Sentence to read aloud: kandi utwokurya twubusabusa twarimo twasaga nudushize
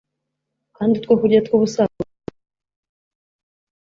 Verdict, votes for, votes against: rejected, 1, 2